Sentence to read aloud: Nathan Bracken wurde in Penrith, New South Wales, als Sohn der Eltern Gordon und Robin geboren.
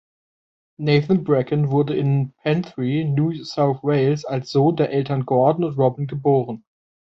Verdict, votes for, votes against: rejected, 1, 3